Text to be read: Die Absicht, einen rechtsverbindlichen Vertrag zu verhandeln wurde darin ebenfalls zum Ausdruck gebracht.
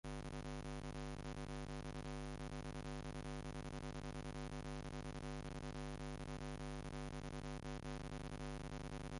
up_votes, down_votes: 0, 2